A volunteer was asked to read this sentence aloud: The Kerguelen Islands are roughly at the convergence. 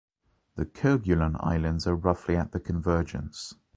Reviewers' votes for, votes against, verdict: 2, 1, accepted